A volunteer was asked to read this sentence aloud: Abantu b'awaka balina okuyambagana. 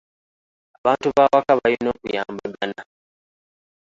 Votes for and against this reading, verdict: 2, 1, accepted